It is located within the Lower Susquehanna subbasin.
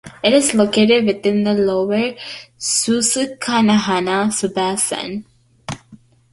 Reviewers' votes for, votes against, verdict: 0, 2, rejected